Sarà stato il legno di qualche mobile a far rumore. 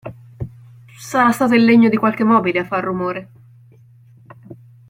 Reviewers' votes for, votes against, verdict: 2, 0, accepted